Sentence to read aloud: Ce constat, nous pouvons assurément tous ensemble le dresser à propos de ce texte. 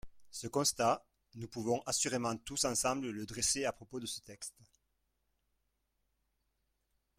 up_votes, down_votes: 2, 1